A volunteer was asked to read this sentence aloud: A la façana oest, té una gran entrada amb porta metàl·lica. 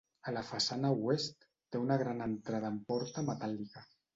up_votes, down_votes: 2, 1